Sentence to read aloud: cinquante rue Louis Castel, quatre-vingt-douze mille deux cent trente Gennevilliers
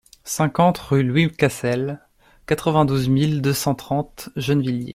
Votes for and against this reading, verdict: 2, 0, accepted